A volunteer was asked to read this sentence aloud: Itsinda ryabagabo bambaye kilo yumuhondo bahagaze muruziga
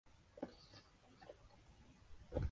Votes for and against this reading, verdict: 0, 2, rejected